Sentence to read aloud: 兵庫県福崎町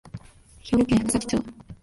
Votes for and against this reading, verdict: 1, 2, rejected